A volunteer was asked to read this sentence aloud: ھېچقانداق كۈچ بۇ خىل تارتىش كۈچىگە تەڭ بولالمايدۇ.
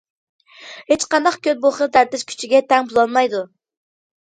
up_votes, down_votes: 0, 2